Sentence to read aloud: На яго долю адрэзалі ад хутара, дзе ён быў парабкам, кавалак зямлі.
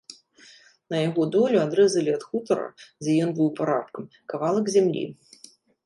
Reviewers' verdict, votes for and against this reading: rejected, 0, 2